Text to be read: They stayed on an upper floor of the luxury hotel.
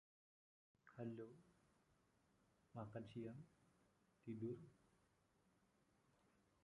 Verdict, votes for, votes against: rejected, 0, 2